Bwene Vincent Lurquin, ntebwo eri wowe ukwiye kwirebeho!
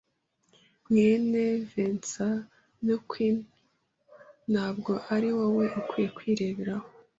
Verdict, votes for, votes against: rejected, 0, 2